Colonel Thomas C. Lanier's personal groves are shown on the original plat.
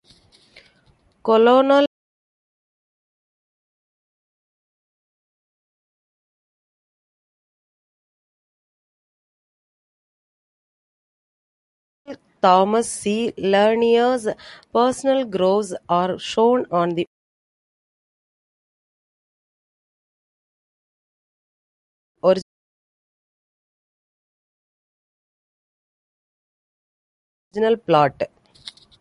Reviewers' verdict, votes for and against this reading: rejected, 0, 2